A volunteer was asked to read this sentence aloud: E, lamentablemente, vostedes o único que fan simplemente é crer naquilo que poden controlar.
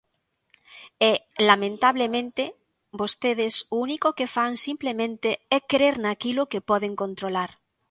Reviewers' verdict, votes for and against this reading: accepted, 2, 0